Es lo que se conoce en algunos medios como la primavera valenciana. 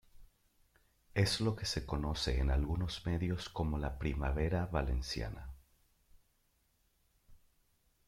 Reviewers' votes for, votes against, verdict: 2, 0, accepted